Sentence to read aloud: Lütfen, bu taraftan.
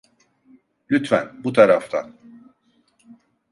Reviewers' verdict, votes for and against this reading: accepted, 2, 0